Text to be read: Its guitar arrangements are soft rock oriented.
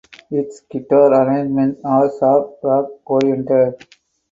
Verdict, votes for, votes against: accepted, 6, 0